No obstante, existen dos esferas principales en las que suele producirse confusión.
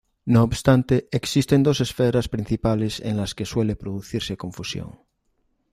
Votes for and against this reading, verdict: 2, 0, accepted